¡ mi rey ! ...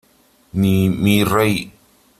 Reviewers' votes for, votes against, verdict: 1, 3, rejected